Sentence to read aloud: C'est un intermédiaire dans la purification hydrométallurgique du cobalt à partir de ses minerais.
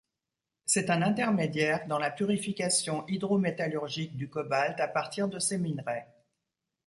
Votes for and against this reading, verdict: 2, 0, accepted